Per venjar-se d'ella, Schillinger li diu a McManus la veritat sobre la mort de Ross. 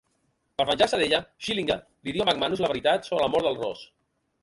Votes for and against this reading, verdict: 0, 2, rejected